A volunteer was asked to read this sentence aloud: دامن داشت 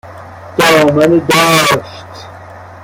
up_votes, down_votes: 1, 2